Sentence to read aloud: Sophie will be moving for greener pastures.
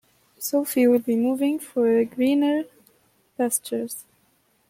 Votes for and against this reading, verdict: 1, 2, rejected